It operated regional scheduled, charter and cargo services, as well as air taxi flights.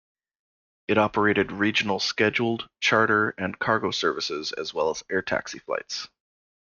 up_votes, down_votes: 2, 0